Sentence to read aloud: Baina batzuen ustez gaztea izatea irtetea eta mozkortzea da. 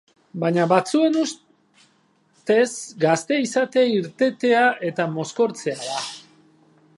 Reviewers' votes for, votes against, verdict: 0, 4, rejected